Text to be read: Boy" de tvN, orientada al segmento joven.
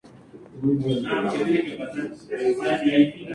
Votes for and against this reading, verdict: 0, 2, rejected